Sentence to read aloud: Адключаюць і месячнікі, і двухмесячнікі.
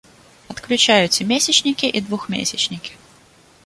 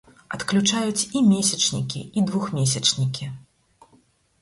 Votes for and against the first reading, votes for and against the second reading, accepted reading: 0, 2, 6, 0, second